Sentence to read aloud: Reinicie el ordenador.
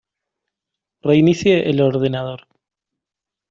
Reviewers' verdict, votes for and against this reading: accepted, 2, 0